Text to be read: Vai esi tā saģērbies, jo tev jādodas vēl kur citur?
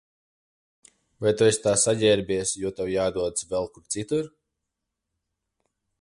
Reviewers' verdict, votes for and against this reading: rejected, 0, 2